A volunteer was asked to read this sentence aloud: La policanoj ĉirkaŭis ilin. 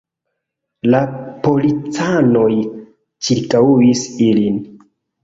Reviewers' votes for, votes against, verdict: 0, 2, rejected